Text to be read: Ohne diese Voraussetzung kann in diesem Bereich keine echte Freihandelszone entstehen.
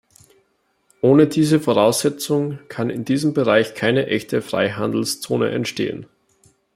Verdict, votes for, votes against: accepted, 2, 0